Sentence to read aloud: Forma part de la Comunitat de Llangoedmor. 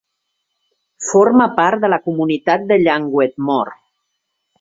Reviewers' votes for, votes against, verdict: 2, 0, accepted